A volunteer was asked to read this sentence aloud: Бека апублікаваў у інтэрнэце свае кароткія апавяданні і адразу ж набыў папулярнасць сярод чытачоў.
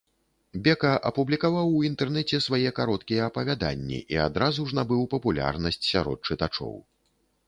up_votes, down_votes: 2, 0